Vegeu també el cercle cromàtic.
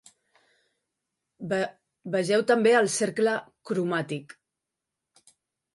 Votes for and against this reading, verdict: 0, 2, rejected